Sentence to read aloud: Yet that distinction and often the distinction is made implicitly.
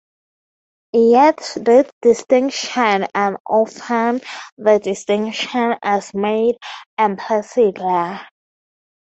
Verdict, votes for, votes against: rejected, 0, 4